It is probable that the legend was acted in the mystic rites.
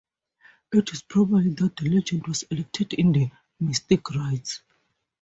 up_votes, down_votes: 0, 2